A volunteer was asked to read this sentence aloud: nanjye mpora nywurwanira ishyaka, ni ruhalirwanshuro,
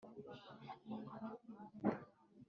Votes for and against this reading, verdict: 1, 2, rejected